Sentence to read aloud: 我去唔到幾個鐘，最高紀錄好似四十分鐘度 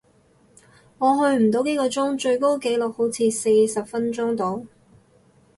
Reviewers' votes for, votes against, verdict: 4, 0, accepted